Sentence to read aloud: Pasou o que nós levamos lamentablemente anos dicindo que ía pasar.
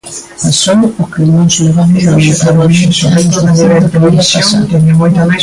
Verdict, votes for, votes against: rejected, 0, 2